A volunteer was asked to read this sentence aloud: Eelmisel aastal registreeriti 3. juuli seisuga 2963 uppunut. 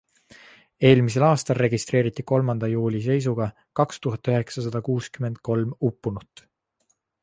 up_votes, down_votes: 0, 2